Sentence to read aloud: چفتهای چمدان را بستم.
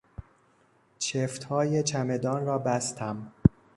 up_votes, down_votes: 2, 0